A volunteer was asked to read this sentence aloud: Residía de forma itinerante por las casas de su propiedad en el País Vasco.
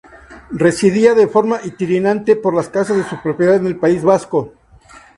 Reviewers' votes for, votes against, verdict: 0, 2, rejected